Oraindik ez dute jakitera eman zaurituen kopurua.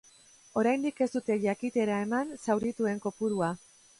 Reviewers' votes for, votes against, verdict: 3, 1, accepted